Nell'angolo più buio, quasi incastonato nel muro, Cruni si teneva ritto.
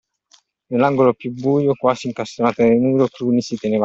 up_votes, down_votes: 0, 2